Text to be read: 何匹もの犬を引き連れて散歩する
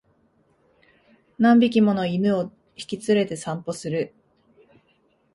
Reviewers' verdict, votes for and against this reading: accepted, 2, 0